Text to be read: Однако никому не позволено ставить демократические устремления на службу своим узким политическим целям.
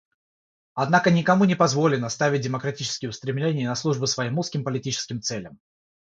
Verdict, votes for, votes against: accepted, 3, 0